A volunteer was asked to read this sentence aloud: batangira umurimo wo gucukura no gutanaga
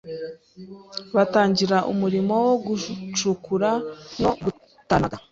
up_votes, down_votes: 2, 0